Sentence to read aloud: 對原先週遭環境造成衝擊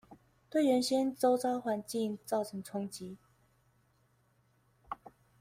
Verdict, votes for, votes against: accepted, 2, 0